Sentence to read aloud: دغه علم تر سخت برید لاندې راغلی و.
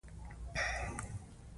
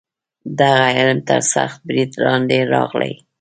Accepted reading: second